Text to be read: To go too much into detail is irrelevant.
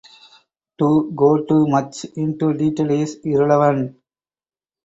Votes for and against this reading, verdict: 4, 0, accepted